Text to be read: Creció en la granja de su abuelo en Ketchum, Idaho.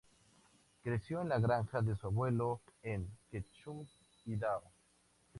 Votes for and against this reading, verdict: 0, 2, rejected